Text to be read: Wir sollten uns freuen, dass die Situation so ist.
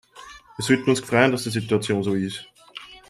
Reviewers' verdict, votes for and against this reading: rejected, 1, 2